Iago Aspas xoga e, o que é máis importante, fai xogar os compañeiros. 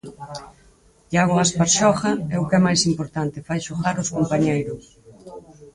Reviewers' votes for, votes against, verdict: 2, 4, rejected